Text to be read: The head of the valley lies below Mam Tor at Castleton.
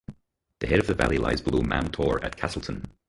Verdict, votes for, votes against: rejected, 0, 4